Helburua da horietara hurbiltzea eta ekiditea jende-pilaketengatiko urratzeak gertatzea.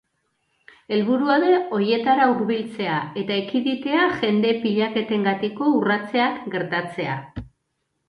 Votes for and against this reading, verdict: 0, 2, rejected